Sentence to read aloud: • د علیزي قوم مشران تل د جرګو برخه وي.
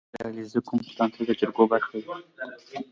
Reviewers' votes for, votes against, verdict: 2, 0, accepted